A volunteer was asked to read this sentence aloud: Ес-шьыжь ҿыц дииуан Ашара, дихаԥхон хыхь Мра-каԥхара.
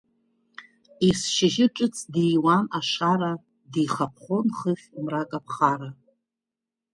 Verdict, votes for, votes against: rejected, 1, 2